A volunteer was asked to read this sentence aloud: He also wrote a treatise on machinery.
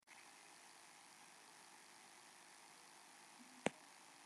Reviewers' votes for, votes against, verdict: 0, 2, rejected